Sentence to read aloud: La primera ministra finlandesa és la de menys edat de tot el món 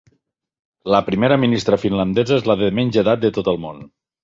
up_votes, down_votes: 3, 0